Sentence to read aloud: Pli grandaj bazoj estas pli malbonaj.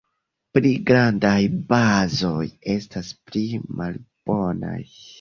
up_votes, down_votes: 1, 2